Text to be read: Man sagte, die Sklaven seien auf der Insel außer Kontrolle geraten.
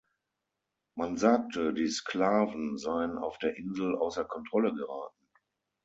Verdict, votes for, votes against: accepted, 6, 0